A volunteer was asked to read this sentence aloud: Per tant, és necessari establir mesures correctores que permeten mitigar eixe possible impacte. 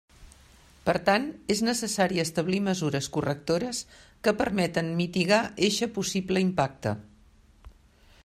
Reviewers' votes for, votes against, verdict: 2, 0, accepted